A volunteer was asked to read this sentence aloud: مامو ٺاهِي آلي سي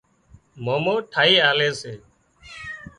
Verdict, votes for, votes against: rejected, 0, 2